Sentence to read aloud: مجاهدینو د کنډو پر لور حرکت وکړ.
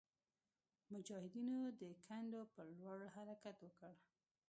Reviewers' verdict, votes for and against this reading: rejected, 1, 2